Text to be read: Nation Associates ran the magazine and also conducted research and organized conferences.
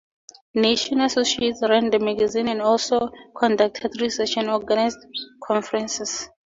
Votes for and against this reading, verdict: 4, 0, accepted